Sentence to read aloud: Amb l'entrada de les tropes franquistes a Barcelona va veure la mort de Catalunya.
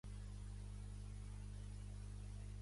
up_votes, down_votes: 0, 2